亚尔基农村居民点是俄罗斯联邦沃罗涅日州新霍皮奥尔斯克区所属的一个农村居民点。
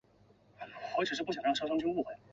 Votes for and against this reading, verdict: 4, 1, accepted